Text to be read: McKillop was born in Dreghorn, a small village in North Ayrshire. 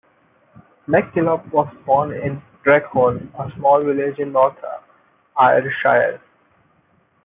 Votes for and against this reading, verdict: 0, 2, rejected